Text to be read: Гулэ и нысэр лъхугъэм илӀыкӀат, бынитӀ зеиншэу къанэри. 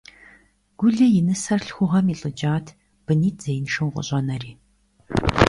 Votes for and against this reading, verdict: 1, 2, rejected